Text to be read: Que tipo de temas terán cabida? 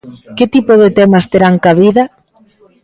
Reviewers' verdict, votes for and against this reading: accepted, 2, 0